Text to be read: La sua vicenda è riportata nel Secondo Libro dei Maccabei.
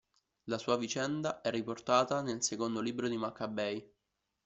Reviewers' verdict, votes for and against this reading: rejected, 0, 2